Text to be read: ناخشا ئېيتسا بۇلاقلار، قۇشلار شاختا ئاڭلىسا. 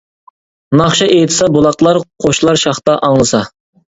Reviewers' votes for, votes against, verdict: 2, 0, accepted